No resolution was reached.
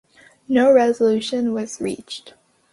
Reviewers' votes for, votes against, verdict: 3, 0, accepted